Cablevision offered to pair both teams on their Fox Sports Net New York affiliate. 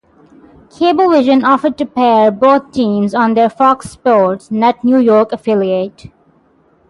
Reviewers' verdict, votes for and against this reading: accepted, 3, 0